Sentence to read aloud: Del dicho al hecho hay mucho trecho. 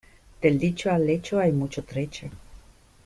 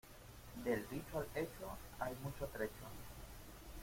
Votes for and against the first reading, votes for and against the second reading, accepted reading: 2, 0, 0, 2, first